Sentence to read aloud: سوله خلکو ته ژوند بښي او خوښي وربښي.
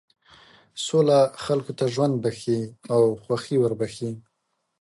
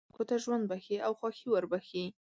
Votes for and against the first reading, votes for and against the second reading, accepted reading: 2, 0, 1, 2, first